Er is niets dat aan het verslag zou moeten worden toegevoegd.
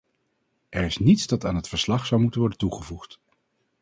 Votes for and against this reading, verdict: 4, 0, accepted